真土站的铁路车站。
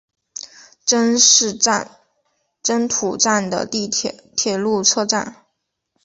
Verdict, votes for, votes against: rejected, 1, 3